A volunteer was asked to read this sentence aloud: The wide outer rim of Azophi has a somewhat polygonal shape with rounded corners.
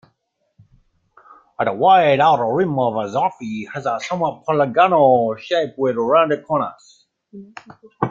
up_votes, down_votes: 1, 2